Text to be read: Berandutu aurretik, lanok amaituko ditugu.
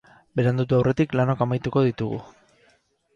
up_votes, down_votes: 4, 0